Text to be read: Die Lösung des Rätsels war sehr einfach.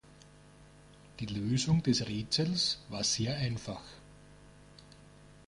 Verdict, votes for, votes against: accepted, 2, 0